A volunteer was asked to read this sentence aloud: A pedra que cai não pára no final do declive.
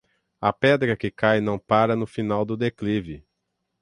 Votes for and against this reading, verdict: 3, 0, accepted